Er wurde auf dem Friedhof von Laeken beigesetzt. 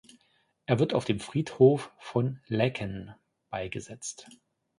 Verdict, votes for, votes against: rejected, 1, 2